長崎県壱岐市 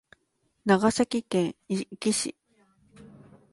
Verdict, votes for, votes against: accepted, 3, 0